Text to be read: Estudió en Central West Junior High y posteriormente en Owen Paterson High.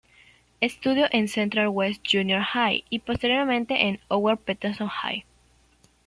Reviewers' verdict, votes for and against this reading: rejected, 1, 2